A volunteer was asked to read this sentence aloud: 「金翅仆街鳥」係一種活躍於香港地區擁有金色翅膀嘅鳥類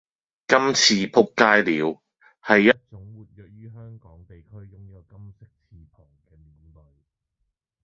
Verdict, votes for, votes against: rejected, 0, 2